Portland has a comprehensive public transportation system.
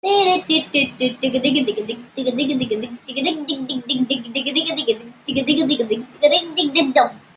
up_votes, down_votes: 0, 2